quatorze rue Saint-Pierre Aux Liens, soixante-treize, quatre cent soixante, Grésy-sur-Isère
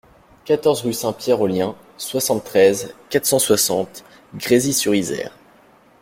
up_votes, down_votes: 2, 0